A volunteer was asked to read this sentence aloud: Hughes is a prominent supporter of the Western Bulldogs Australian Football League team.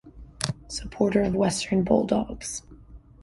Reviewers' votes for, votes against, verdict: 0, 2, rejected